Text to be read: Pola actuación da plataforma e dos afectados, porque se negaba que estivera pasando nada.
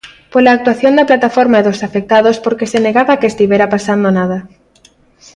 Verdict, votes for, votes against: accepted, 2, 0